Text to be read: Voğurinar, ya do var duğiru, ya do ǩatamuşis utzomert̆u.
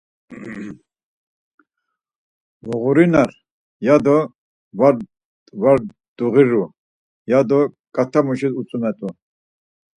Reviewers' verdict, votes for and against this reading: rejected, 2, 4